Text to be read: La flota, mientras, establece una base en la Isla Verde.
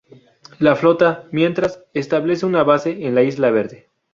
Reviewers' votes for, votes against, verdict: 2, 0, accepted